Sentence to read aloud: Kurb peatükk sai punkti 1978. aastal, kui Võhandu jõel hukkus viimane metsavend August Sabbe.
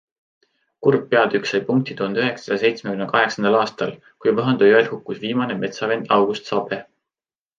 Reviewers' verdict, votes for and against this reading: rejected, 0, 2